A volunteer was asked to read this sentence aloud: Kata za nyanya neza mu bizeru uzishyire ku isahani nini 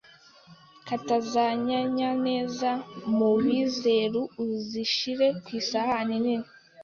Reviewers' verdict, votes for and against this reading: rejected, 0, 2